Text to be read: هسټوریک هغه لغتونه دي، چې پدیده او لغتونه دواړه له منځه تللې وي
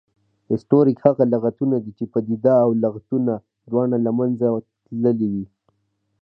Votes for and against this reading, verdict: 2, 0, accepted